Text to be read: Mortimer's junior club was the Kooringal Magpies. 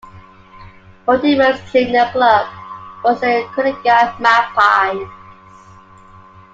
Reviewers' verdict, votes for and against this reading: accepted, 2, 0